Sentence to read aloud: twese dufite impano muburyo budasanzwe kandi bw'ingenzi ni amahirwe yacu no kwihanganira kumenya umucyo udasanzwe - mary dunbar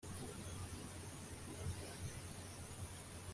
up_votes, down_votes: 0, 3